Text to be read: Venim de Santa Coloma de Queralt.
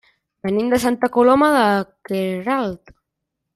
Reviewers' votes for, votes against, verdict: 1, 2, rejected